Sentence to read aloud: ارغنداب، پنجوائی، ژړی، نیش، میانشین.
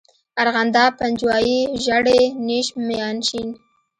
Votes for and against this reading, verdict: 2, 0, accepted